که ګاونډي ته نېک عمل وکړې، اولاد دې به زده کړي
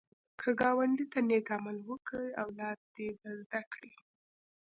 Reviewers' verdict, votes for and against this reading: accepted, 2, 0